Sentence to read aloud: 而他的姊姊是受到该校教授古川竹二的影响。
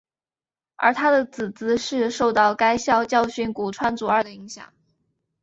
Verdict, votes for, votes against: accepted, 3, 0